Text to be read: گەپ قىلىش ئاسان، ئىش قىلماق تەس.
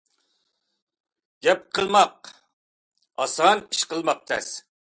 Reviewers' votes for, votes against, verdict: 0, 2, rejected